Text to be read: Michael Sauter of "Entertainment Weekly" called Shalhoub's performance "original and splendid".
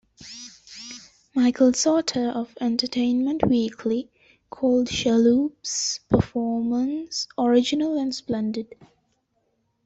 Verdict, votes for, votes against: rejected, 0, 2